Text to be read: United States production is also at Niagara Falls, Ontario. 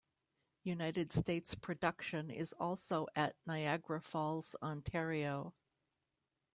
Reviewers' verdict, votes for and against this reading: accepted, 2, 0